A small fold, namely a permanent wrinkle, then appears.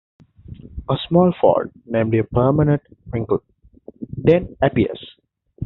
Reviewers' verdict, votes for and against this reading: accepted, 2, 0